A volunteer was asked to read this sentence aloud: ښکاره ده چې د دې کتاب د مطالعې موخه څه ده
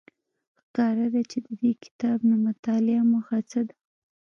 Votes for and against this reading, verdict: 1, 2, rejected